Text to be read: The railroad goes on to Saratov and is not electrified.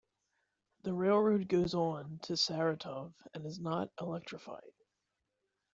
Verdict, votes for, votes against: accepted, 3, 1